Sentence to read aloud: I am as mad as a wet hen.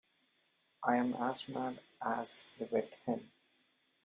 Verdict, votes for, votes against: accepted, 2, 1